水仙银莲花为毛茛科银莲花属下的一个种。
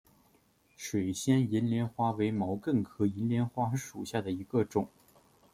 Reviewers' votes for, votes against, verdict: 2, 0, accepted